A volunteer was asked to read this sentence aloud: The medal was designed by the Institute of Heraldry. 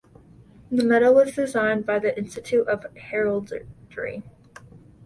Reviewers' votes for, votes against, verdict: 0, 2, rejected